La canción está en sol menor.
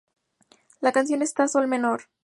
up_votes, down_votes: 2, 2